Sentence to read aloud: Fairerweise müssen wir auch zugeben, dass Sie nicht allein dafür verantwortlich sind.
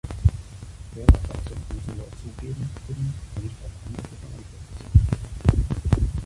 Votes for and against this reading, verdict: 0, 2, rejected